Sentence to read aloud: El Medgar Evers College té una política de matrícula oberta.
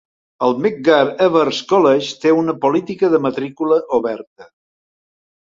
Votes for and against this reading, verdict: 2, 0, accepted